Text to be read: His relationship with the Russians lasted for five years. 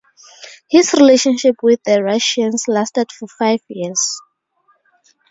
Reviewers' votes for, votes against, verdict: 4, 0, accepted